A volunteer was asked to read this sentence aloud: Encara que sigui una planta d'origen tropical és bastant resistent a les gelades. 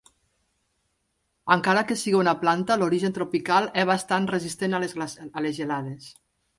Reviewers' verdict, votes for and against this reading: rejected, 0, 2